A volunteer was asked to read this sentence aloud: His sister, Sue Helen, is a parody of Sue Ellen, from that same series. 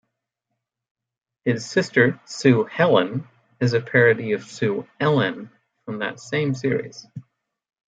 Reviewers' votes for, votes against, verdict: 2, 0, accepted